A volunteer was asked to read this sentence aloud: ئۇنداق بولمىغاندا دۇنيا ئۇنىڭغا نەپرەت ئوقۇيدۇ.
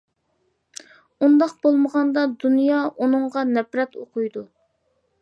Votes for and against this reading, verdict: 2, 0, accepted